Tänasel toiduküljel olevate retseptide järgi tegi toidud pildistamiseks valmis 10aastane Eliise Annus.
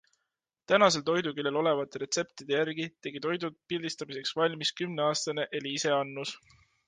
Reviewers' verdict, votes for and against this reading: rejected, 0, 2